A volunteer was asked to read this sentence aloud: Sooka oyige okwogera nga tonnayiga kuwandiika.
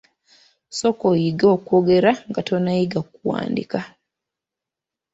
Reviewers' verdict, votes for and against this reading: rejected, 0, 2